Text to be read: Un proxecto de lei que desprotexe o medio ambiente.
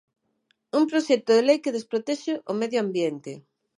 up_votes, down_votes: 18, 0